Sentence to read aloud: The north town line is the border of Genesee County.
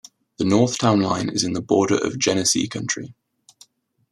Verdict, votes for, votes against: accepted, 2, 0